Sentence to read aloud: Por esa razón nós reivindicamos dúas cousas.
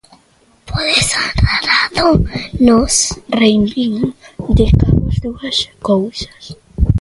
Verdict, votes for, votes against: rejected, 0, 2